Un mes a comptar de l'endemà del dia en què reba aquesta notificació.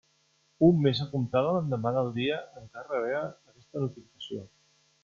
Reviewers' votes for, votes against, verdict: 0, 2, rejected